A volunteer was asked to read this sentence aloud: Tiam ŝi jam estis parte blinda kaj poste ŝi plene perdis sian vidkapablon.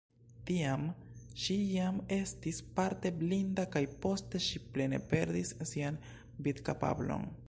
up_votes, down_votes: 2, 0